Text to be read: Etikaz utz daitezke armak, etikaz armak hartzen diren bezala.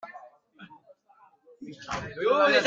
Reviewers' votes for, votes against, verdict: 0, 2, rejected